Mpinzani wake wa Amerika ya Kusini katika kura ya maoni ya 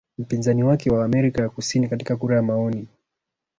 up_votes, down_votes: 0, 2